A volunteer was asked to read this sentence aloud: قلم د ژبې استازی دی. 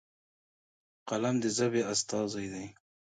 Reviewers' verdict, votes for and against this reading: accepted, 2, 0